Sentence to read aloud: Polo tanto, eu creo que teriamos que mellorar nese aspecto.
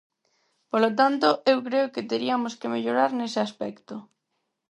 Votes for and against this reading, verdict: 0, 4, rejected